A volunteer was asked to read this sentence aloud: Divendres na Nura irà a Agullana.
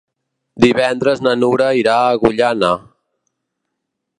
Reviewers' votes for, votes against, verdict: 0, 2, rejected